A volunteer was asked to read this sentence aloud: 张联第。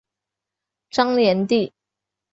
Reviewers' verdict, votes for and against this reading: accepted, 4, 0